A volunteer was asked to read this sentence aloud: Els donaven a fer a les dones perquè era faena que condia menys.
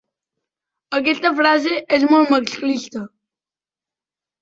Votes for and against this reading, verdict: 0, 2, rejected